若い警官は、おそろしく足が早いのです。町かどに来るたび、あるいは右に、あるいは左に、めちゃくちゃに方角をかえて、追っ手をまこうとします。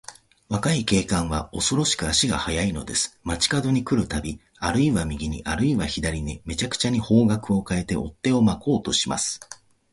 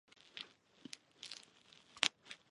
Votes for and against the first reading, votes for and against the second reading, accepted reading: 2, 0, 0, 2, first